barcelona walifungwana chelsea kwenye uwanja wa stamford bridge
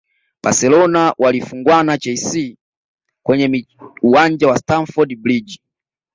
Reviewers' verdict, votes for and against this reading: rejected, 0, 2